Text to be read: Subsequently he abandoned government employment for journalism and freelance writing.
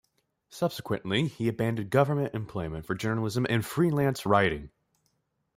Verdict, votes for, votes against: accepted, 2, 0